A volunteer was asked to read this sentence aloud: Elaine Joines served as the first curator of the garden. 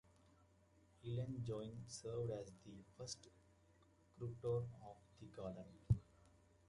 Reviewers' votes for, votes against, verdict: 1, 2, rejected